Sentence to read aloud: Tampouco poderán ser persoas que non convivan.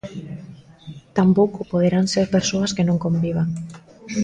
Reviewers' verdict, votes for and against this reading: rejected, 1, 2